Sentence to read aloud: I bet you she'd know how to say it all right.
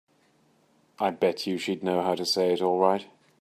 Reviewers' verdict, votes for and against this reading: accepted, 2, 0